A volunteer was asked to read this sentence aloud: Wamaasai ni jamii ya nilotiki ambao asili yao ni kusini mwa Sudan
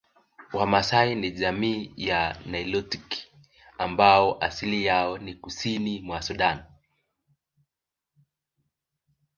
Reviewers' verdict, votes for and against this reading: accepted, 3, 0